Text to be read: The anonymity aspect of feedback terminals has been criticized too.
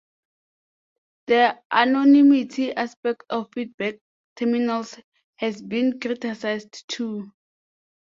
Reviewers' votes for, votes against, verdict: 2, 0, accepted